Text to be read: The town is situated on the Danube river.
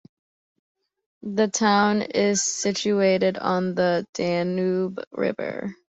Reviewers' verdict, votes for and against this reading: accepted, 2, 0